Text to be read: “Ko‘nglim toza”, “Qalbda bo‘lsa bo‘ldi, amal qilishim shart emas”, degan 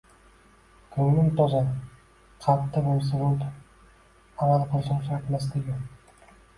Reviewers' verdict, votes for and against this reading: rejected, 1, 2